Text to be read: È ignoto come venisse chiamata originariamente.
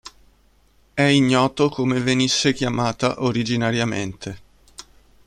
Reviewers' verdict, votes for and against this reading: accepted, 4, 1